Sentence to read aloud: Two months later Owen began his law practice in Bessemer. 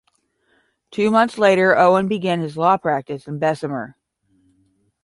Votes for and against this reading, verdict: 10, 0, accepted